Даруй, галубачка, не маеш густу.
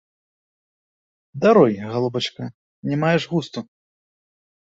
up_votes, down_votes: 2, 0